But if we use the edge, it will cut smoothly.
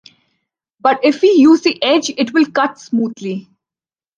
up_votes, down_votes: 2, 0